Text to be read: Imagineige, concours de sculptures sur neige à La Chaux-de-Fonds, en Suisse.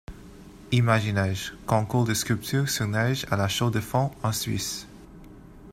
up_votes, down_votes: 2, 0